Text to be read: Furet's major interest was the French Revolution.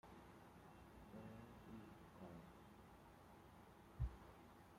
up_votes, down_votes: 0, 2